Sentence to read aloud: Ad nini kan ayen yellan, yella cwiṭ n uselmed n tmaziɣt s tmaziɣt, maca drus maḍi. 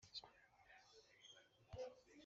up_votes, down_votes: 0, 2